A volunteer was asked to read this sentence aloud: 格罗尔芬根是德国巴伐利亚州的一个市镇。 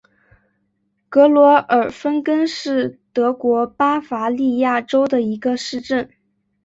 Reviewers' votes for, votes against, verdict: 5, 0, accepted